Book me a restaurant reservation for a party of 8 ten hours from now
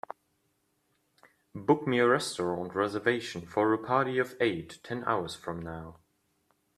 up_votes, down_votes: 0, 2